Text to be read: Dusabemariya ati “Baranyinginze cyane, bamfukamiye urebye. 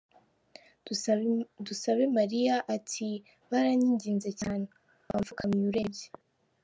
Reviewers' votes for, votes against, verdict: 1, 2, rejected